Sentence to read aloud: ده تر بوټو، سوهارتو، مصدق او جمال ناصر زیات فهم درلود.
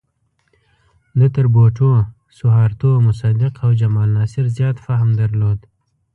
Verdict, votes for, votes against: accepted, 2, 1